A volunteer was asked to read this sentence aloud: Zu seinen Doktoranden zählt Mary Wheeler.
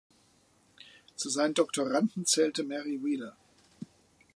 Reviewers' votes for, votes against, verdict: 0, 2, rejected